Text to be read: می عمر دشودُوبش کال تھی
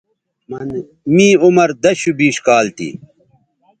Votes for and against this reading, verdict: 1, 2, rejected